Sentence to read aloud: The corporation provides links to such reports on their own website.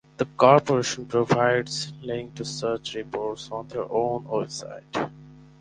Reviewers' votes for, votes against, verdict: 2, 2, rejected